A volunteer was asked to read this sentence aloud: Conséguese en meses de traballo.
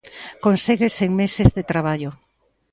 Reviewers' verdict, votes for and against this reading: accepted, 3, 0